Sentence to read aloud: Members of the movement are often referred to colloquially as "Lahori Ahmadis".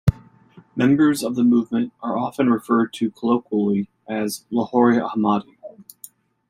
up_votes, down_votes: 1, 2